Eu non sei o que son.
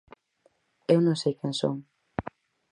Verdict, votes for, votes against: rejected, 0, 4